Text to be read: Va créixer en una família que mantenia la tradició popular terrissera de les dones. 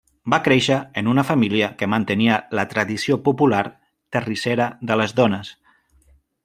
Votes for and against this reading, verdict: 2, 0, accepted